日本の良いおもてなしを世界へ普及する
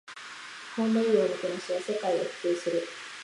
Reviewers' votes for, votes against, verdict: 0, 2, rejected